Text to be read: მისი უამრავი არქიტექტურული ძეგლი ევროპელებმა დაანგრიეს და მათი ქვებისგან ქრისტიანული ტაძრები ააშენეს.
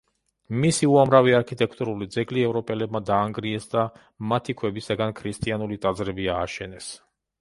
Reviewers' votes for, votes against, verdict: 1, 3, rejected